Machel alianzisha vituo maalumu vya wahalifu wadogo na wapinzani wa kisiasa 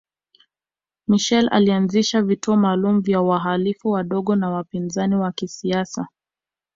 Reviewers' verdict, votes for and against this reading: accepted, 2, 0